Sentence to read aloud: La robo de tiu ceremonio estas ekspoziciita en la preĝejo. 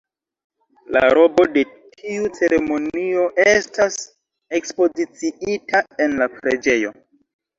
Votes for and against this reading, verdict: 2, 0, accepted